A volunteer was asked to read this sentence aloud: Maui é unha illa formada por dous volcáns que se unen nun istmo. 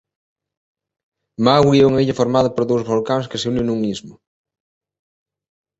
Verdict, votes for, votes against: rejected, 0, 2